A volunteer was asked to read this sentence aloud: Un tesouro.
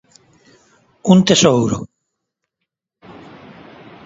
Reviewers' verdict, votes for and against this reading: accepted, 2, 0